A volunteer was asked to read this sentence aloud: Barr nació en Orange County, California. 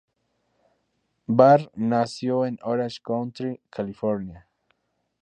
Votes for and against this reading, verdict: 0, 2, rejected